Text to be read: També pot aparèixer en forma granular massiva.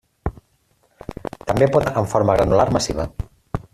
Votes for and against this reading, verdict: 0, 2, rejected